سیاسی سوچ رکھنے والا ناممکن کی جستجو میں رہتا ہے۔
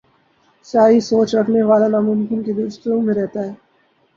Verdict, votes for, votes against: rejected, 0, 2